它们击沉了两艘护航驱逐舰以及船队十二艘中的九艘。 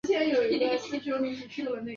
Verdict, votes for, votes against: rejected, 1, 2